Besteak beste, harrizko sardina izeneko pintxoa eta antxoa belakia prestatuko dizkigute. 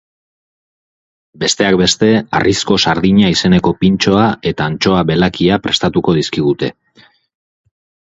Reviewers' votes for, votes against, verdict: 6, 0, accepted